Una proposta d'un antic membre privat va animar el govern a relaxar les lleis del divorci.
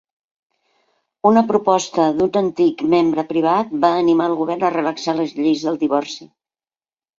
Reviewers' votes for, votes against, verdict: 2, 0, accepted